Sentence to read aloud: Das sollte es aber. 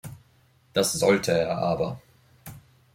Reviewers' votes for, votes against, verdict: 1, 2, rejected